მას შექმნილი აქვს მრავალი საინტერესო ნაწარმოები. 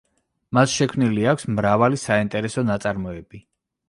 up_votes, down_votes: 2, 0